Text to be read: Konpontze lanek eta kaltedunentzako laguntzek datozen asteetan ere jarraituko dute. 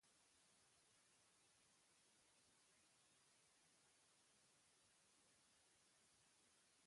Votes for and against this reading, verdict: 0, 2, rejected